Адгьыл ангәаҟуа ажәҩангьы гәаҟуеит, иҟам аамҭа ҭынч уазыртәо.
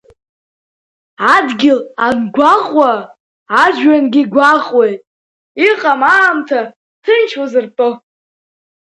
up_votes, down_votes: 2, 0